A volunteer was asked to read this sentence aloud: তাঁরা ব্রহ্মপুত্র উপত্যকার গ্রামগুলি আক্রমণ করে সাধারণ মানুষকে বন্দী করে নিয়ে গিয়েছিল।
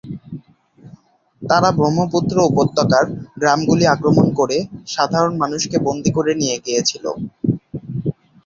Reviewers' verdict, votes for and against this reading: accepted, 3, 0